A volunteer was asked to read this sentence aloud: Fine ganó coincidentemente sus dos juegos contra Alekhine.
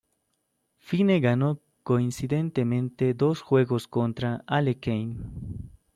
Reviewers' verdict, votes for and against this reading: rejected, 0, 2